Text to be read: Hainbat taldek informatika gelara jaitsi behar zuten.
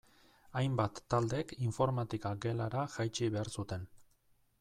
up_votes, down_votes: 2, 0